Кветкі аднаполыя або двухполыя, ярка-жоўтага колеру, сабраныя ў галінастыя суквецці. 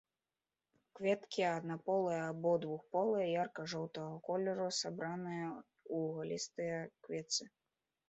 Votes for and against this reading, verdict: 0, 2, rejected